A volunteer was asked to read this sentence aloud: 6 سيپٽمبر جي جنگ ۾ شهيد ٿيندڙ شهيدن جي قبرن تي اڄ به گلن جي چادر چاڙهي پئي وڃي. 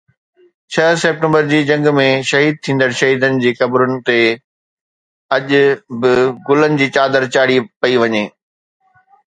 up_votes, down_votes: 0, 2